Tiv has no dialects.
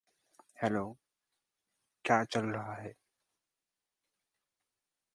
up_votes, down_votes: 0, 2